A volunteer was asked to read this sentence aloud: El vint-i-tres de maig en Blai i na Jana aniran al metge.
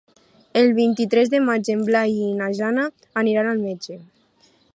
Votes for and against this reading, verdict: 4, 1, accepted